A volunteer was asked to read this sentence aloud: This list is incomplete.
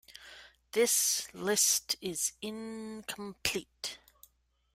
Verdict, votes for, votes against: accepted, 2, 0